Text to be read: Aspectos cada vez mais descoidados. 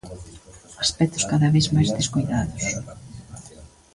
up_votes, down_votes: 2, 1